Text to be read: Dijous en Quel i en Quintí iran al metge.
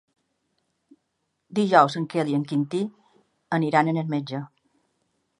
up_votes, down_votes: 0, 2